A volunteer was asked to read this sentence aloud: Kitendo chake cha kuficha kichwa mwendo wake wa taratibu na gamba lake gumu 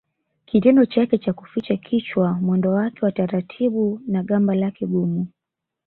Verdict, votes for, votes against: accepted, 2, 0